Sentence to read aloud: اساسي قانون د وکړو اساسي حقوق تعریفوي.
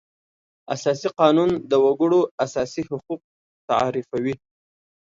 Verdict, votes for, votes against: accepted, 2, 0